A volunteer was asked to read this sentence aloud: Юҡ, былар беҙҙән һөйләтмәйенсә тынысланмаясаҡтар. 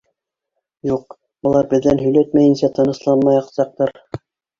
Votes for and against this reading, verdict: 2, 1, accepted